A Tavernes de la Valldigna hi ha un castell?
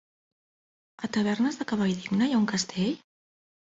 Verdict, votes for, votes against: rejected, 1, 2